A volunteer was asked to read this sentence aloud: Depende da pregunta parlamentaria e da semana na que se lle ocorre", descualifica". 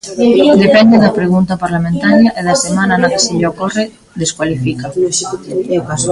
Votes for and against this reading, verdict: 0, 2, rejected